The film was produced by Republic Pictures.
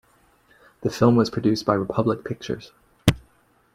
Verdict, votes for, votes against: accepted, 2, 1